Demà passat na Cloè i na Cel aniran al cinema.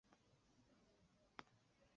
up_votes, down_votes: 2, 4